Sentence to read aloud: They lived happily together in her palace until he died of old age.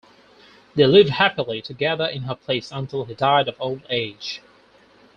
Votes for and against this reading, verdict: 2, 4, rejected